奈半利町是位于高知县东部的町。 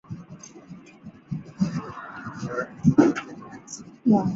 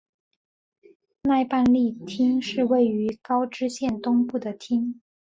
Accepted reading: second